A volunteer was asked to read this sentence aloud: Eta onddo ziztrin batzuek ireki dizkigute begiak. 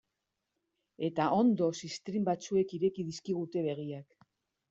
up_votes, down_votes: 0, 2